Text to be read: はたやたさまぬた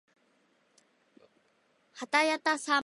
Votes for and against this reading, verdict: 0, 2, rejected